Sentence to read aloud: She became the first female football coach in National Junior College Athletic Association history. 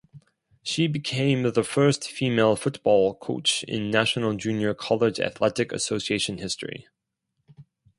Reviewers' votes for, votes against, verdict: 4, 0, accepted